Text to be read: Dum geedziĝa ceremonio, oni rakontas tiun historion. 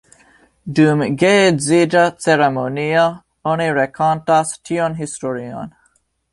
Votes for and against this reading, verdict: 3, 0, accepted